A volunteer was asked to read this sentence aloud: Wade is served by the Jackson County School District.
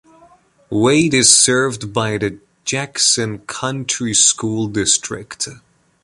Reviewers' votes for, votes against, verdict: 0, 2, rejected